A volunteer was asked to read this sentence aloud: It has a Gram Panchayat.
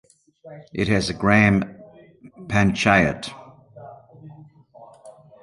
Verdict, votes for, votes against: accepted, 2, 0